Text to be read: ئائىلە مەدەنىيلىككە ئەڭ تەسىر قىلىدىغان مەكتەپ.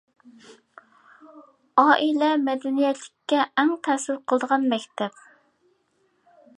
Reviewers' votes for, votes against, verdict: 1, 2, rejected